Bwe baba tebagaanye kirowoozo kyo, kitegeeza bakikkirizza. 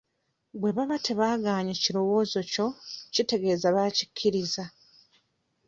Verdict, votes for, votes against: rejected, 1, 2